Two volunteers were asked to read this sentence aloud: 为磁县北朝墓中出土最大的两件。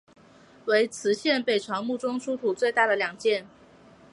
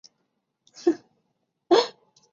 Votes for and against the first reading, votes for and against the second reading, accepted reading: 3, 0, 0, 2, first